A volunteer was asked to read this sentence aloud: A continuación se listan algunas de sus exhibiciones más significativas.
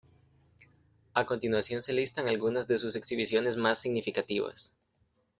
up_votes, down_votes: 0, 2